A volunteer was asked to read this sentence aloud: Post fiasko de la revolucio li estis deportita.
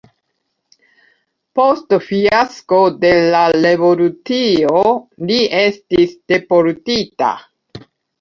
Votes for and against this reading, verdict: 1, 2, rejected